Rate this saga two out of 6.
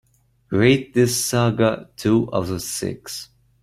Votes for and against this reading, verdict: 0, 2, rejected